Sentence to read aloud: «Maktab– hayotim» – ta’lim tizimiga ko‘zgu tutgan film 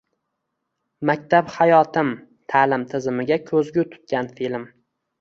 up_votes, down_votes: 1, 2